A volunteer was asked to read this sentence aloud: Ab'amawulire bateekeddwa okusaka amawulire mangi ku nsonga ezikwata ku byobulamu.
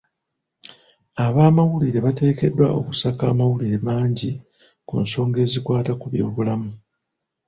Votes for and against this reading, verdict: 2, 0, accepted